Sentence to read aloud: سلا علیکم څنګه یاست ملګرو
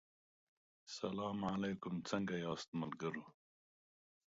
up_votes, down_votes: 2, 0